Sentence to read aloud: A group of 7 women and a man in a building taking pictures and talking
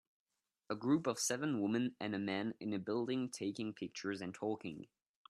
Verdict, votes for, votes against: rejected, 0, 2